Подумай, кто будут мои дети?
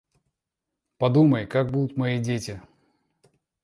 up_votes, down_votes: 1, 2